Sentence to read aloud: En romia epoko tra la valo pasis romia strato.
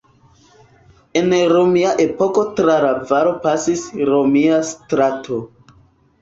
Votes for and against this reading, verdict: 3, 1, accepted